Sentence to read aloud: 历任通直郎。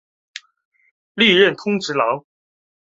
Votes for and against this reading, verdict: 7, 0, accepted